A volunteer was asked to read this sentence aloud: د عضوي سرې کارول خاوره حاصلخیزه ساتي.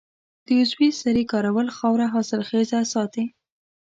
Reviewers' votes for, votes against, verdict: 3, 0, accepted